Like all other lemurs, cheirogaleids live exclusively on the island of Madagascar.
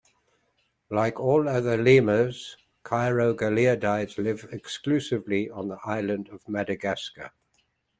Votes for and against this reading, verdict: 1, 2, rejected